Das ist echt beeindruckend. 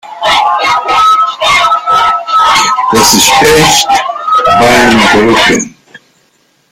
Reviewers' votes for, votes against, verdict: 0, 2, rejected